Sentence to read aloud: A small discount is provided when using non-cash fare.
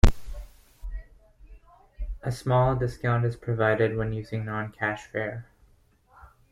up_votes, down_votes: 2, 0